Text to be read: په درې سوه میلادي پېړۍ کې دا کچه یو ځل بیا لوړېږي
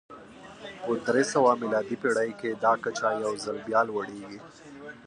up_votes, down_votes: 0, 2